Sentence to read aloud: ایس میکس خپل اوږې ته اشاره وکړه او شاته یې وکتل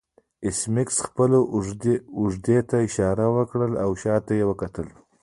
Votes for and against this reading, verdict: 1, 2, rejected